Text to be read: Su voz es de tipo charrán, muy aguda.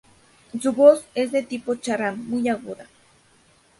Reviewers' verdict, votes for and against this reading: rejected, 0, 2